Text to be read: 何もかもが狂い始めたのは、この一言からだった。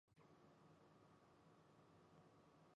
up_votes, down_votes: 0, 2